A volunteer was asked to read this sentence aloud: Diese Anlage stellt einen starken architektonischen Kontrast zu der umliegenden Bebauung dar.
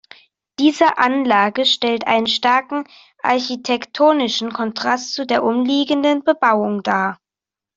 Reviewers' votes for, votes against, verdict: 2, 0, accepted